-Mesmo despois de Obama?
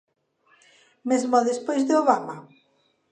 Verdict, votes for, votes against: accepted, 2, 0